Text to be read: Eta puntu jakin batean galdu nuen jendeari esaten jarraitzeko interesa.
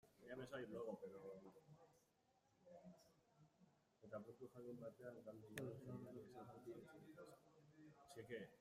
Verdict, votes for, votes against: rejected, 0, 2